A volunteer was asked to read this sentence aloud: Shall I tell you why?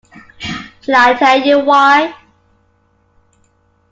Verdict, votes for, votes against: accepted, 2, 0